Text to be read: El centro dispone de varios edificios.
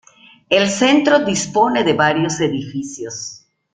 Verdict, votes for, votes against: accepted, 2, 1